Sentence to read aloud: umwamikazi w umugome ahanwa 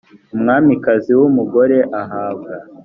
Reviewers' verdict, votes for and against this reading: rejected, 1, 2